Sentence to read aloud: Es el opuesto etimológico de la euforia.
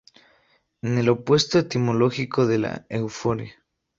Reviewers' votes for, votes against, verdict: 0, 2, rejected